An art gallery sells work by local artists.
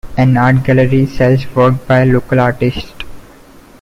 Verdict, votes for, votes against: rejected, 1, 2